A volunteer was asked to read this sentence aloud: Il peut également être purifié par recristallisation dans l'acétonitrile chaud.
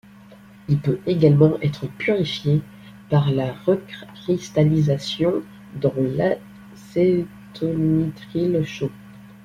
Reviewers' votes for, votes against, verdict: 1, 2, rejected